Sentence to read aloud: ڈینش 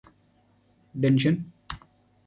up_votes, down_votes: 0, 2